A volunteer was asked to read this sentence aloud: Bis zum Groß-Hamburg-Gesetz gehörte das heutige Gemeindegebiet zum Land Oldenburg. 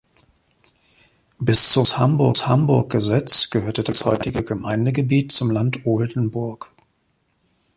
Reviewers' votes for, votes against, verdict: 0, 2, rejected